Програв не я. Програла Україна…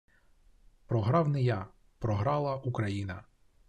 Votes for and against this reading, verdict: 2, 0, accepted